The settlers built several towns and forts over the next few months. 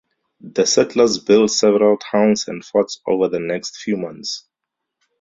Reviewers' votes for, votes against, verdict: 2, 0, accepted